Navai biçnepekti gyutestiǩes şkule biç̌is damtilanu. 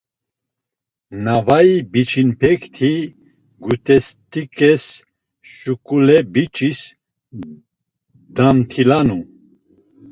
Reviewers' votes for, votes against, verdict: 1, 2, rejected